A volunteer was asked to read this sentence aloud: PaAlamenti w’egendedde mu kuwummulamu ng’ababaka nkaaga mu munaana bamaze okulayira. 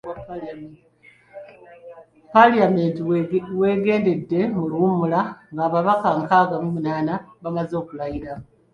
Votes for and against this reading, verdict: 1, 2, rejected